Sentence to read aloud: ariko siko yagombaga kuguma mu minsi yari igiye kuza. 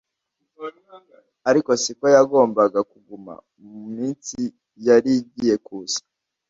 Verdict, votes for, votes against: accepted, 2, 1